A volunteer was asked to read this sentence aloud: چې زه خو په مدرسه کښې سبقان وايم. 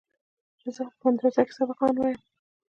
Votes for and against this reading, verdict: 1, 2, rejected